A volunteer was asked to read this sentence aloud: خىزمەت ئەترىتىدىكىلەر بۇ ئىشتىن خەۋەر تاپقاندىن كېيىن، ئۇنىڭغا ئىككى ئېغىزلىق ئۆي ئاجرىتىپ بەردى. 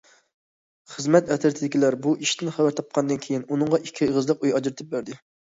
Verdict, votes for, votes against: accepted, 2, 0